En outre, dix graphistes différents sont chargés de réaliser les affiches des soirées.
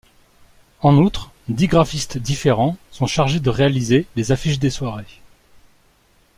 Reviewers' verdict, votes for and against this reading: accepted, 2, 0